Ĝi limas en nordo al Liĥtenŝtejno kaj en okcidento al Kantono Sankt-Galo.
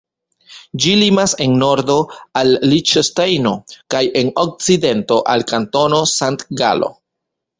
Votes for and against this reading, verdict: 0, 2, rejected